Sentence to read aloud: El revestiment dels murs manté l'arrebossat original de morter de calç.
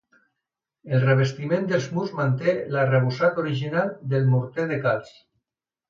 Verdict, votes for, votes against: rejected, 1, 2